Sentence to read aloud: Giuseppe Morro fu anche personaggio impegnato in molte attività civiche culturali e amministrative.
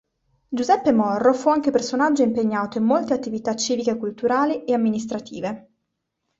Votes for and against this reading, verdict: 2, 0, accepted